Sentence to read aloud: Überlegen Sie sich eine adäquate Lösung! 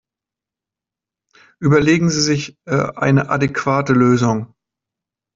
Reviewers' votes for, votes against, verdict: 0, 2, rejected